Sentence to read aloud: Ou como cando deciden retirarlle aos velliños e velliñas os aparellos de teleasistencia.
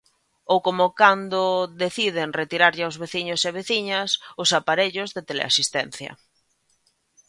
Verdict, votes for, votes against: rejected, 0, 2